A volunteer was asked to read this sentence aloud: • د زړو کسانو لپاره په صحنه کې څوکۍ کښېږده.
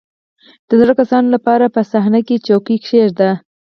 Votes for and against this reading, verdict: 4, 2, accepted